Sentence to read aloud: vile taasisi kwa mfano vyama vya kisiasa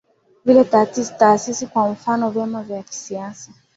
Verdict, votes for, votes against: accepted, 2, 1